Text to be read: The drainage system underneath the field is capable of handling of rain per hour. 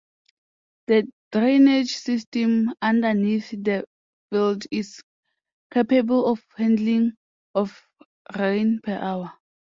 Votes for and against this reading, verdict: 2, 1, accepted